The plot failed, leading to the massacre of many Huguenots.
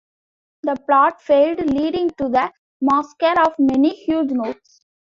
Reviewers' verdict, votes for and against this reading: rejected, 0, 2